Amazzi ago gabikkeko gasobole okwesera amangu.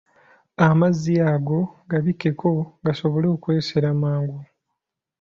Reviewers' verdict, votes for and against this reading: rejected, 0, 2